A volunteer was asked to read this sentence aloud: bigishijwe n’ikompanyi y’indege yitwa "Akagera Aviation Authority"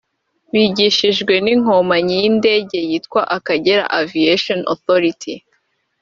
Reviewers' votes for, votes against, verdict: 1, 2, rejected